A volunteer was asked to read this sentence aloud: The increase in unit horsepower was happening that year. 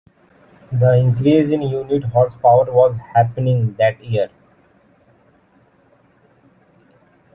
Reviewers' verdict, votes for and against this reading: accepted, 2, 0